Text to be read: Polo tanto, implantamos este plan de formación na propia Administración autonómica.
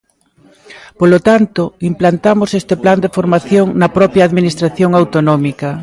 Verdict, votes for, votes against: accepted, 2, 0